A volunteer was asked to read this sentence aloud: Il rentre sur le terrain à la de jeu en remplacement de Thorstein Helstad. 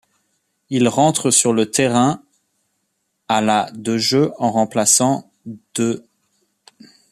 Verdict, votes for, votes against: rejected, 0, 2